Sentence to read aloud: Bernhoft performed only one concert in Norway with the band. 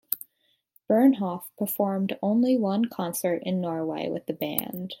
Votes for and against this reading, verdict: 2, 0, accepted